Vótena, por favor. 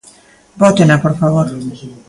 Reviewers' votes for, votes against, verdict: 2, 0, accepted